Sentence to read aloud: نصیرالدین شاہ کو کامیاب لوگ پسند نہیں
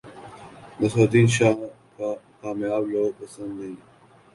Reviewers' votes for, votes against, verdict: 0, 2, rejected